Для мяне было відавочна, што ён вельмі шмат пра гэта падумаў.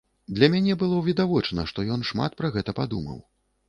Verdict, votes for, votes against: rejected, 0, 2